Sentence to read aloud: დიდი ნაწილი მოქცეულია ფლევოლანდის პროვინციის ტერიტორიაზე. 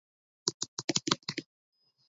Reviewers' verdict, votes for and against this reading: rejected, 0, 2